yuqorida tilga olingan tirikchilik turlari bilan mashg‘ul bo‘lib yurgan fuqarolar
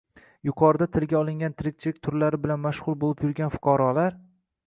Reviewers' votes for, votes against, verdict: 0, 2, rejected